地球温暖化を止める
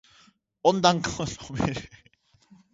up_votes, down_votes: 1, 2